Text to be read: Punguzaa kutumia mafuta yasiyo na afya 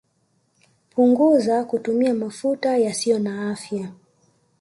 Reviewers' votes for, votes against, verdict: 2, 0, accepted